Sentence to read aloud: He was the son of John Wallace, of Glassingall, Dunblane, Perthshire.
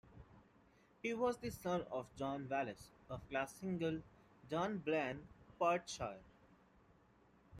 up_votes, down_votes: 0, 2